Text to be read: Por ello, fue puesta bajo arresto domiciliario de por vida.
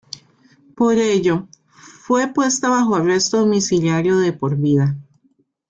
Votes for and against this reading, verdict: 2, 1, accepted